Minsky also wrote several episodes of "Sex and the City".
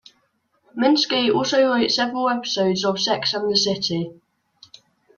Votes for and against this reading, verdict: 0, 2, rejected